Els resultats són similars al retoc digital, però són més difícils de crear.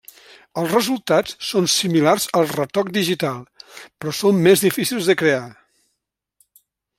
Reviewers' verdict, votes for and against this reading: accepted, 3, 1